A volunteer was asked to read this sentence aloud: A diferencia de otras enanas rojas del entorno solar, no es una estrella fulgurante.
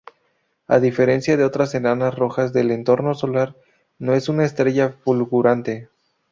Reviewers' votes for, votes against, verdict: 4, 0, accepted